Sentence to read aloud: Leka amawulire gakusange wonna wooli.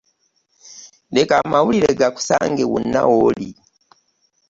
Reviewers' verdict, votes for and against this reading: accepted, 2, 0